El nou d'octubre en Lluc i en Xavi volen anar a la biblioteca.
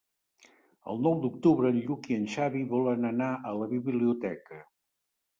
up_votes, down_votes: 3, 0